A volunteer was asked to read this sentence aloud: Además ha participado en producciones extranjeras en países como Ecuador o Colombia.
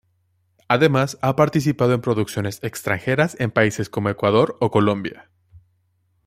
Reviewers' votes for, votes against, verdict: 2, 0, accepted